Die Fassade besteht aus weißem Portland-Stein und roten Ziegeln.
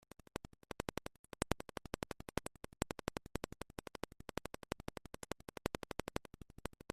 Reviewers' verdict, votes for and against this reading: rejected, 0, 2